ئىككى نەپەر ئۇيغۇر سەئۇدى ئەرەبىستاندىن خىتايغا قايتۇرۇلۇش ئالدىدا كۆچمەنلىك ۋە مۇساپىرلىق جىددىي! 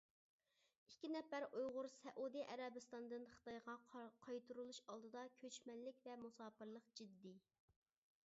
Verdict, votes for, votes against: rejected, 0, 2